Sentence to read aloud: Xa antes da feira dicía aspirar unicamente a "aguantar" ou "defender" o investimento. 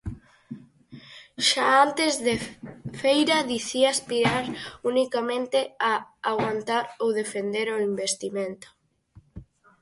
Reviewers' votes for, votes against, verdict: 0, 4, rejected